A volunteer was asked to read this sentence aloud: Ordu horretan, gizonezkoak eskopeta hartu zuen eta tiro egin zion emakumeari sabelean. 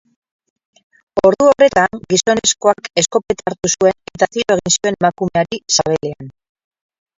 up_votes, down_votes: 2, 6